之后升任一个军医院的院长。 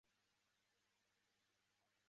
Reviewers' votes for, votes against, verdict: 0, 3, rejected